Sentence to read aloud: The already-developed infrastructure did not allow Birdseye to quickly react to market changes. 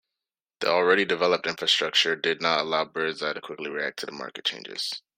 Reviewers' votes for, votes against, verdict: 1, 2, rejected